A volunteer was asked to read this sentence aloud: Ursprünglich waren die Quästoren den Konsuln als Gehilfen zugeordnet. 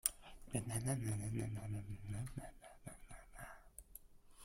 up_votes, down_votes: 0, 2